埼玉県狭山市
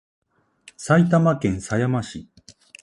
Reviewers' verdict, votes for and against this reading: accepted, 2, 0